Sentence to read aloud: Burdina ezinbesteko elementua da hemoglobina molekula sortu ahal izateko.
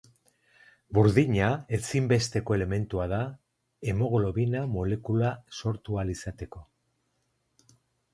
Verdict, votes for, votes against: accepted, 2, 0